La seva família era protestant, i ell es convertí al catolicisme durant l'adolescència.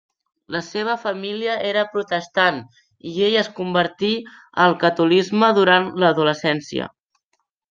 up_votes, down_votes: 0, 2